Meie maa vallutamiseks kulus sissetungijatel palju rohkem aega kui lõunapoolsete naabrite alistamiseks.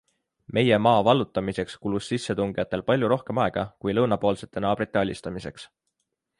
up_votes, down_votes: 2, 0